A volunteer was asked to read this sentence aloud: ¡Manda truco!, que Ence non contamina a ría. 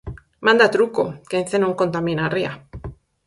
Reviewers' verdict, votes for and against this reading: accepted, 4, 0